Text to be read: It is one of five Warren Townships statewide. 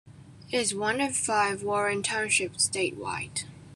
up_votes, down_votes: 2, 1